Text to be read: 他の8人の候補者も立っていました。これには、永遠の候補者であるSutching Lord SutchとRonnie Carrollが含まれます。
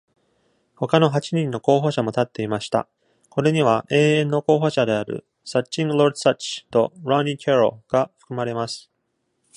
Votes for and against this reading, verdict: 0, 2, rejected